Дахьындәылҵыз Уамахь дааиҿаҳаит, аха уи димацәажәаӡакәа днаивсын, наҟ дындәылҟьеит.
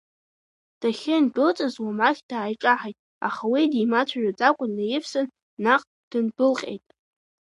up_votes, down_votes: 2, 0